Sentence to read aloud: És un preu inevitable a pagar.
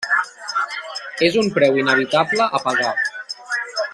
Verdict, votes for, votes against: rejected, 0, 2